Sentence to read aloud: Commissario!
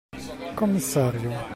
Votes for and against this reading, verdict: 2, 1, accepted